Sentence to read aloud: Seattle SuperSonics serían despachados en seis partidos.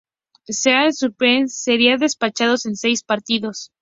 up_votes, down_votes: 0, 2